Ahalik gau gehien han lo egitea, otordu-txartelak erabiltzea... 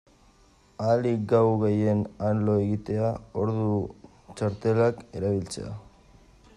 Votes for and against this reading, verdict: 0, 2, rejected